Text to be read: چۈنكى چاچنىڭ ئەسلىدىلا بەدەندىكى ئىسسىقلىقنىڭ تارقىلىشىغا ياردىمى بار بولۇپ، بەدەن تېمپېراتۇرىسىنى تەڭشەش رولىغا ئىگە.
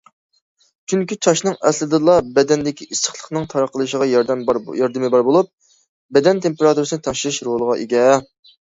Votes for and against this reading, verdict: 0, 2, rejected